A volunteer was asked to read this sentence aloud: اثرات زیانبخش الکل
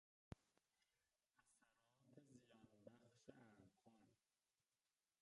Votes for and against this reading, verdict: 1, 3, rejected